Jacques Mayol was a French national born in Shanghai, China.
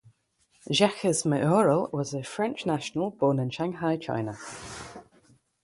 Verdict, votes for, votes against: rejected, 3, 3